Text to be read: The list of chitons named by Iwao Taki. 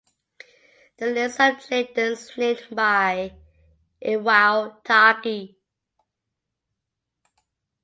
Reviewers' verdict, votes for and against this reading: accepted, 2, 0